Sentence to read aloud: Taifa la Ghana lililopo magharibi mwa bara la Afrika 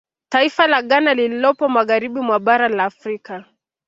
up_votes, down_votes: 2, 0